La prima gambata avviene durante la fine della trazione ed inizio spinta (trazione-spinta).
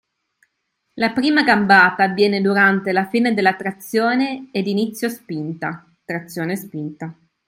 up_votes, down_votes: 2, 0